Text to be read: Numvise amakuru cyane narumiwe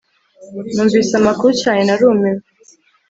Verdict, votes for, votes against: rejected, 1, 2